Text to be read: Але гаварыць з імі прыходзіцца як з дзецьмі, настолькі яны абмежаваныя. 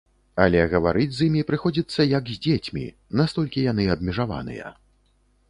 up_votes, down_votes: 2, 0